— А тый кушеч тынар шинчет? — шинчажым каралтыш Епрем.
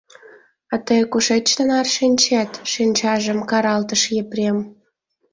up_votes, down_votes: 2, 0